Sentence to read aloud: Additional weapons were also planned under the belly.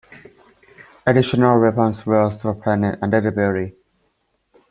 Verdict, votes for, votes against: accepted, 2, 0